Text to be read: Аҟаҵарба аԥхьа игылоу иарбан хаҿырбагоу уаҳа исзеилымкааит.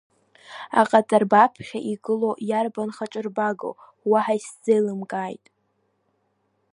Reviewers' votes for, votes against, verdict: 2, 0, accepted